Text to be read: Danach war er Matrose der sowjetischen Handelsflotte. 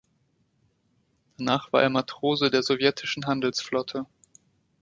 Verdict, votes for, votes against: rejected, 1, 2